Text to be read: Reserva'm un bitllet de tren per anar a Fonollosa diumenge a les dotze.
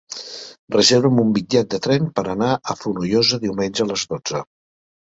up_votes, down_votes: 3, 0